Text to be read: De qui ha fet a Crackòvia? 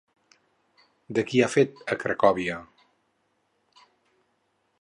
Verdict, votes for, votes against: rejected, 2, 2